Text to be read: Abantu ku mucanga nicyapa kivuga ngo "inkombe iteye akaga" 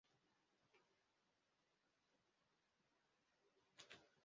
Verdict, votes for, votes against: rejected, 0, 2